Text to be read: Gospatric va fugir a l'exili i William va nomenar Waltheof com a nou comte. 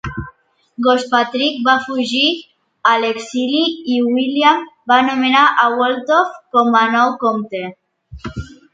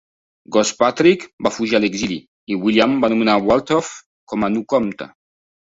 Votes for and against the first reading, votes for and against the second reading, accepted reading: 0, 2, 2, 0, second